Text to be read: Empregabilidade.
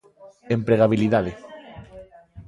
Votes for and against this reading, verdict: 2, 1, accepted